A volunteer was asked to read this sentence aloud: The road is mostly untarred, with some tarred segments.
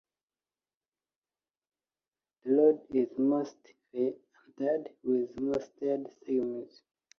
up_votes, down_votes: 1, 2